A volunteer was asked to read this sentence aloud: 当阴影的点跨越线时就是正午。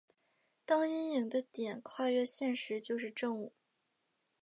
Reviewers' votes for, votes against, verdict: 3, 0, accepted